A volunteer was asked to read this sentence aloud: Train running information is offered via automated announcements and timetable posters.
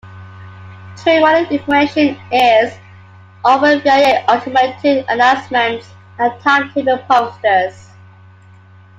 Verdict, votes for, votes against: accepted, 2, 1